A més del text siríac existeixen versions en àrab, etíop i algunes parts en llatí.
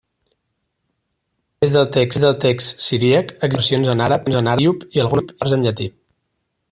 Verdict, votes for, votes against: rejected, 0, 4